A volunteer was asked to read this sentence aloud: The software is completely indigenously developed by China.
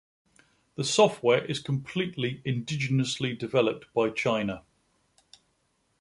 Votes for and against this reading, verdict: 2, 0, accepted